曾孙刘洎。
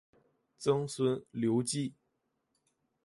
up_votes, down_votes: 1, 2